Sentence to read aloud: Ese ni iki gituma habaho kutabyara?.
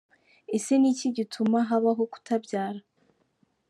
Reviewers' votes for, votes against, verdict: 2, 0, accepted